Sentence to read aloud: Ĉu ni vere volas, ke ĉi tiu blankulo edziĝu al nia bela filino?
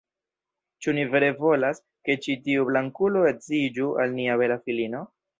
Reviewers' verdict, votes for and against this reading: rejected, 0, 2